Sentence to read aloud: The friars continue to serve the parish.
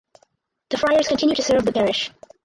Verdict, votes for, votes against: rejected, 2, 4